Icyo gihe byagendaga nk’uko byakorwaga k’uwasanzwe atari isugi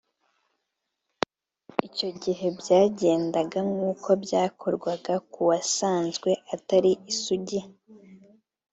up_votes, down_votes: 2, 0